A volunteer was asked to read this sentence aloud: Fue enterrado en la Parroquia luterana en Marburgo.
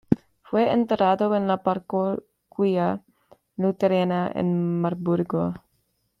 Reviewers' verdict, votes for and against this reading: rejected, 1, 2